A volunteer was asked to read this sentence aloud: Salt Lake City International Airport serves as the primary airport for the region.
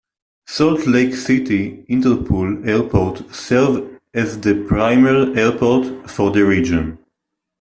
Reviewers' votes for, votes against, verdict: 0, 2, rejected